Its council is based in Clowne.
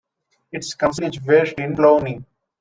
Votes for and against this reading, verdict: 0, 2, rejected